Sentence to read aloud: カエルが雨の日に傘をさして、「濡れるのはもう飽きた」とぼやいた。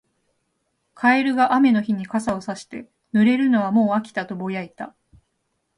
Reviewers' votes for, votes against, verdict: 2, 0, accepted